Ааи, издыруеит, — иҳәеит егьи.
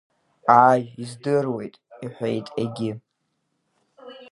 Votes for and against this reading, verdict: 2, 0, accepted